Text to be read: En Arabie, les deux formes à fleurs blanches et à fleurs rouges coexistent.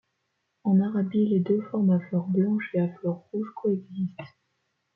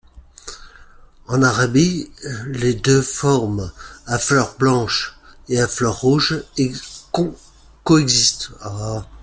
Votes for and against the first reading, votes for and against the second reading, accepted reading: 2, 0, 0, 2, first